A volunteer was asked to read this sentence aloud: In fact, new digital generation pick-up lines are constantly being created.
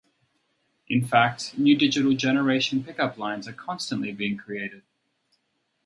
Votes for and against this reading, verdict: 2, 2, rejected